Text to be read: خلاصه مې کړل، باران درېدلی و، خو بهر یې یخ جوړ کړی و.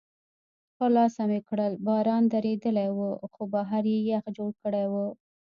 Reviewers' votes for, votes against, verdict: 2, 0, accepted